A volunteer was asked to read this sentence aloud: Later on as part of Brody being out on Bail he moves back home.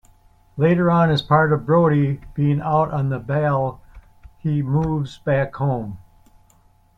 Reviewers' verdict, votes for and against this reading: accepted, 2, 0